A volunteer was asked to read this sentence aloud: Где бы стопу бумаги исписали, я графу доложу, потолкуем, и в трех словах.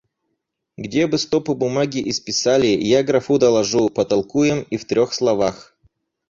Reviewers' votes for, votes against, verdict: 0, 4, rejected